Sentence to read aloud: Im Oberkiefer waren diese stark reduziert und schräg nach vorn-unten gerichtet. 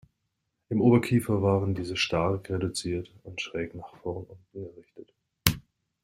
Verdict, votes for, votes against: rejected, 0, 2